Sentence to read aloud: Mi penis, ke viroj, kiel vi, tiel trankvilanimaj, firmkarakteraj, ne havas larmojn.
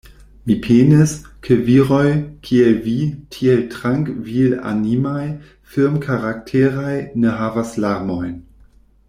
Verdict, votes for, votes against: rejected, 1, 2